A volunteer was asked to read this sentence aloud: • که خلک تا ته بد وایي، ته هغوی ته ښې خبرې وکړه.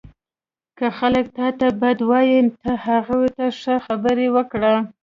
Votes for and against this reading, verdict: 2, 1, accepted